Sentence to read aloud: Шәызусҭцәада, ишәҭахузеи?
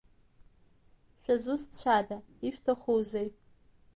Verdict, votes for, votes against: accepted, 2, 0